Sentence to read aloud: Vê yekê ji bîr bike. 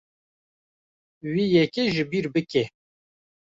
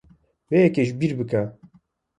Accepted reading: second